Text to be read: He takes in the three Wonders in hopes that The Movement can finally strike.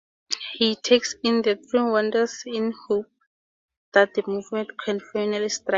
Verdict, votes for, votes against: rejected, 0, 2